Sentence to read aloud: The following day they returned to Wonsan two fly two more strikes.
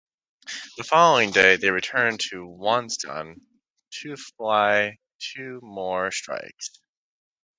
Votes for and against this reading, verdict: 2, 0, accepted